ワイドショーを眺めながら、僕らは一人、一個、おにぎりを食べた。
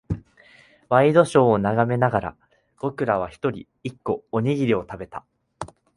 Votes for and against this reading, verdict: 2, 0, accepted